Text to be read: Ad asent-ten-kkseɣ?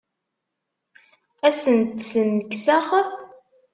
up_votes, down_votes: 1, 2